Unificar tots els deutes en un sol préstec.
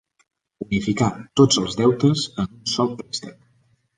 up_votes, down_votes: 1, 2